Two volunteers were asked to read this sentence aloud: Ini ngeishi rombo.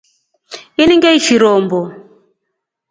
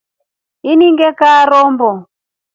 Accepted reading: first